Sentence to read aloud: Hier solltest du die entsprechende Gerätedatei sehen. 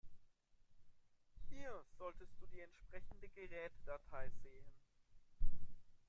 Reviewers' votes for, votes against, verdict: 0, 2, rejected